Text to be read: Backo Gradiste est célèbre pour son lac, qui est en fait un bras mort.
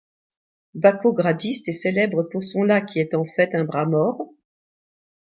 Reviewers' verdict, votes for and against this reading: accepted, 2, 0